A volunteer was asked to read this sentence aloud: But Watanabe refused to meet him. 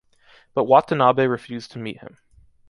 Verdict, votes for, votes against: accepted, 2, 0